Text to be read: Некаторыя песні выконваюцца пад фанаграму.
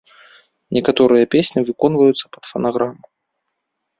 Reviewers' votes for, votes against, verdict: 2, 0, accepted